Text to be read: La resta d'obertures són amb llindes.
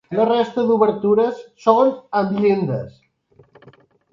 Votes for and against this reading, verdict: 1, 2, rejected